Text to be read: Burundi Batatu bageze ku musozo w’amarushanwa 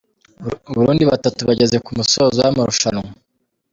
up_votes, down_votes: 2, 0